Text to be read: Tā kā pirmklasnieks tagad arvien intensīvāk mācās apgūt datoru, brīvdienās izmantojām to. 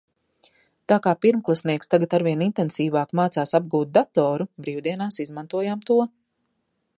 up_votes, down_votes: 2, 0